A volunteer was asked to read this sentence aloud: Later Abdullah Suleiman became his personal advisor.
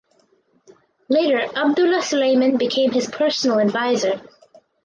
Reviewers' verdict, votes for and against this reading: accepted, 4, 0